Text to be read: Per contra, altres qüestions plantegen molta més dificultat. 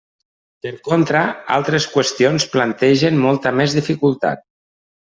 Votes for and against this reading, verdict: 3, 0, accepted